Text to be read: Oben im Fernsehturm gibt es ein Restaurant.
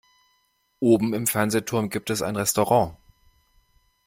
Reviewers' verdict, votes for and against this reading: accepted, 2, 0